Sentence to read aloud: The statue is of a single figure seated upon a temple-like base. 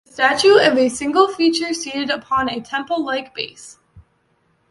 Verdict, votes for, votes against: rejected, 0, 2